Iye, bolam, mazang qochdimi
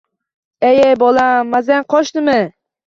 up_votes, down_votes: 0, 2